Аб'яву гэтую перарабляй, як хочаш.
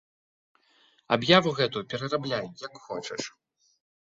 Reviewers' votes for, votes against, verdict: 0, 2, rejected